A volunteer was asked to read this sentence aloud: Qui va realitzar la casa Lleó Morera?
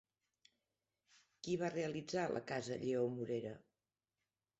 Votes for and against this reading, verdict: 1, 2, rejected